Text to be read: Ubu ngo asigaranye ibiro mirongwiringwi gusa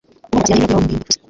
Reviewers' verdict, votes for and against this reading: rejected, 0, 2